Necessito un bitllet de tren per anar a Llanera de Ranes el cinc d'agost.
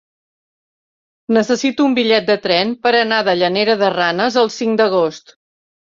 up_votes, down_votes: 1, 2